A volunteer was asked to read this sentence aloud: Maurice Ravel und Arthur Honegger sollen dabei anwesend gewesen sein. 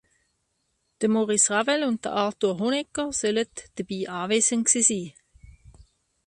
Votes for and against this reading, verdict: 0, 2, rejected